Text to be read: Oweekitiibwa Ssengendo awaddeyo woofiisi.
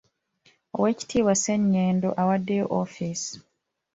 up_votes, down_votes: 0, 2